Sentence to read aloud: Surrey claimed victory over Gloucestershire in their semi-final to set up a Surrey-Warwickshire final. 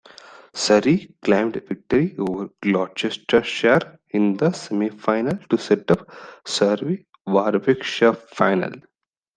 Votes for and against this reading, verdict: 0, 2, rejected